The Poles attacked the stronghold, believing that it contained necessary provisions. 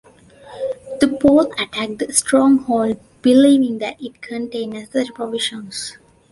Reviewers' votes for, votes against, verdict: 1, 2, rejected